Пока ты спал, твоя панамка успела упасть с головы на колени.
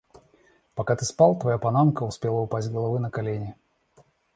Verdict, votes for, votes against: accepted, 2, 0